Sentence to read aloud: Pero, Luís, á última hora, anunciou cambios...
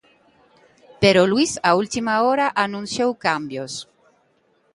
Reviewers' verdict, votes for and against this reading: accepted, 2, 1